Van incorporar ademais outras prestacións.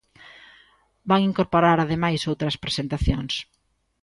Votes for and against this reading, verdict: 0, 2, rejected